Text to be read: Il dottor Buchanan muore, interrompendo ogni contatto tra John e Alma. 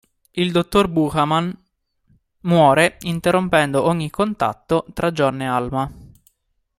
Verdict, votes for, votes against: accepted, 2, 1